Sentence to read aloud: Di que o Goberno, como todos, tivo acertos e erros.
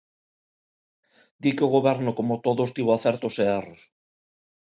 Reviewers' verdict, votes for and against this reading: accepted, 2, 0